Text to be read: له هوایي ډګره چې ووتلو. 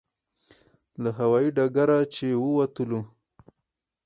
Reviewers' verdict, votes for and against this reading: accepted, 4, 0